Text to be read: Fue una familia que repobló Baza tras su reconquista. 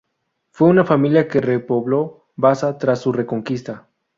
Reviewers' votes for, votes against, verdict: 2, 0, accepted